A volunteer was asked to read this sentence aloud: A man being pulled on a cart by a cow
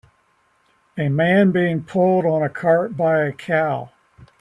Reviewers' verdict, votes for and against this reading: accepted, 3, 0